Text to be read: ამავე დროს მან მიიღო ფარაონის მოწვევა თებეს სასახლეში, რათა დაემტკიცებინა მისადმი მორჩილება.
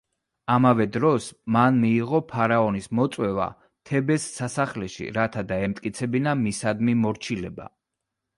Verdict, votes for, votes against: accepted, 2, 0